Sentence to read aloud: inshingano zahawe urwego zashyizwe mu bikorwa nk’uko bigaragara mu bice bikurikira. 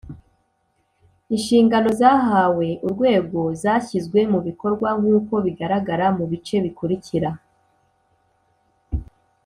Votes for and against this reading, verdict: 4, 0, accepted